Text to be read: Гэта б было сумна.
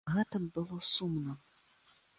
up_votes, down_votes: 2, 0